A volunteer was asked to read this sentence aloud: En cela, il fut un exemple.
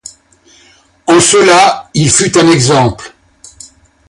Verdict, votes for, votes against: accepted, 2, 0